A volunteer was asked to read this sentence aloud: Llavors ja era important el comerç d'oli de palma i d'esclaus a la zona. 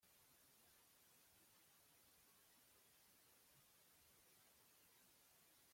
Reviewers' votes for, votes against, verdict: 0, 2, rejected